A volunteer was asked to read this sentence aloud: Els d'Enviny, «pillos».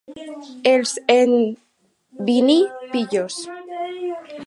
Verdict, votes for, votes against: rejected, 2, 4